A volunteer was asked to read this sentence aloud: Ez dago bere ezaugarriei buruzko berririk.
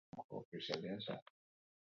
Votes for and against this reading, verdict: 0, 4, rejected